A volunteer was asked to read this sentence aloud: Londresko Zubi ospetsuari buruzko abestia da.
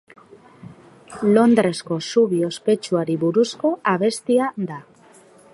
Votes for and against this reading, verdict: 2, 0, accepted